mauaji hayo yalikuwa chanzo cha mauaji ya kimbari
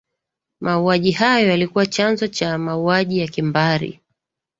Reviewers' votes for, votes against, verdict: 2, 0, accepted